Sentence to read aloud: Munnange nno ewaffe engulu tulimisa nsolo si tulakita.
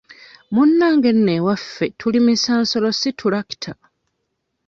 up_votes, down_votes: 1, 2